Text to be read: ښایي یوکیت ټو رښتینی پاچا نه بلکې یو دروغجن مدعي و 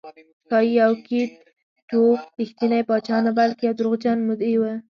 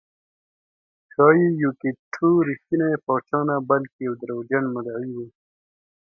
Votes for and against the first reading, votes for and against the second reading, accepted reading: 0, 2, 2, 0, second